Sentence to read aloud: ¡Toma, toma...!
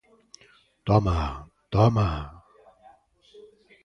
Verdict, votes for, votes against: accepted, 2, 0